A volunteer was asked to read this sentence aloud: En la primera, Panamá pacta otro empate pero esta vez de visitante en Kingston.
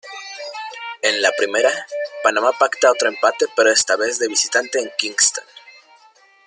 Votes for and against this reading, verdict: 2, 0, accepted